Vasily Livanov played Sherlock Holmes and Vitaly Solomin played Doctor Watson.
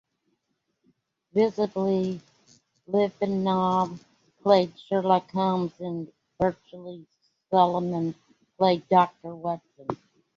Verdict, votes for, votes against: rejected, 1, 2